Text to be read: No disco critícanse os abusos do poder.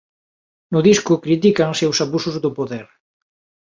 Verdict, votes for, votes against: accepted, 2, 0